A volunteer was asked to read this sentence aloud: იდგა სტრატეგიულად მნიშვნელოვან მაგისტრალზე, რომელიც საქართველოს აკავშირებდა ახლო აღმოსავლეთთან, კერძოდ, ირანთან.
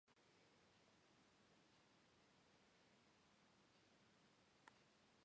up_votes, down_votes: 0, 2